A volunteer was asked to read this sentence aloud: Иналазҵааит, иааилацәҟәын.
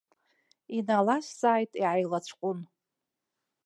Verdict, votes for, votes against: accepted, 2, 0